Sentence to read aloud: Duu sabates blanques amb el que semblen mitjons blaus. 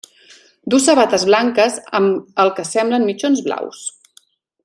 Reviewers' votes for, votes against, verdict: 2, 0, accepted